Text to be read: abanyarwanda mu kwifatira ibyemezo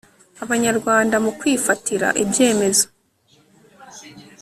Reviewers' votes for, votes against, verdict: 1, 2, rejected